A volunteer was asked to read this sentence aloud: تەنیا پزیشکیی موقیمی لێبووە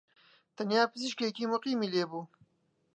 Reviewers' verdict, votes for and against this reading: accepted, 2, 0